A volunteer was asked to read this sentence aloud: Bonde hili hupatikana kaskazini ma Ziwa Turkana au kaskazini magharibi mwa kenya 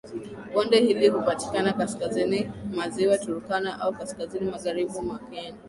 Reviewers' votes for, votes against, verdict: 4, 1, accepted